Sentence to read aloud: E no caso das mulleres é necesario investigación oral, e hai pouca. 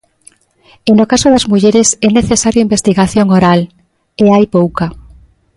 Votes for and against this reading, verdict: 2, 0, accepted